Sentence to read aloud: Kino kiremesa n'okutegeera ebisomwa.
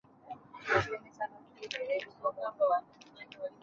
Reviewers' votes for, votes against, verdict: 0, 2, rejected